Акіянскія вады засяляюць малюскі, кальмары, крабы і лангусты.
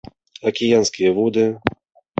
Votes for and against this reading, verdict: 0, 2, rejected